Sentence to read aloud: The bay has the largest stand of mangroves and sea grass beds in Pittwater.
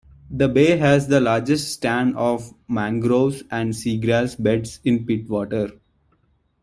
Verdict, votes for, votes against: accepted, 2, 0